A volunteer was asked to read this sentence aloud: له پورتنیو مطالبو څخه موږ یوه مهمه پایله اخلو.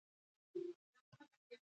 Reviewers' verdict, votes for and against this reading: accepted, 2, 1